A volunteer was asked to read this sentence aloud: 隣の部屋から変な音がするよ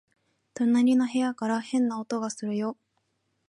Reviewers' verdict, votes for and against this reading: accepted, 2, 0